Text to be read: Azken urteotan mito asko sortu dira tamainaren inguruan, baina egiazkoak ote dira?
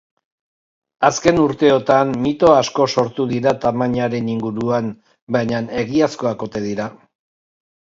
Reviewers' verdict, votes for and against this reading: accepted, 2, 0